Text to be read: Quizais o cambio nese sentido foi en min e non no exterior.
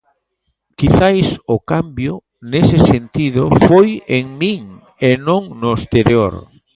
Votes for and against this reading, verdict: 0, 2, rejected